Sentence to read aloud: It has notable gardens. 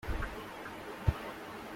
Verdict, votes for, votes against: rejected, 0, 2